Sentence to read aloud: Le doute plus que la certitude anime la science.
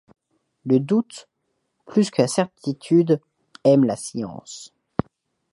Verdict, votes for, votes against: rejected, 1, 2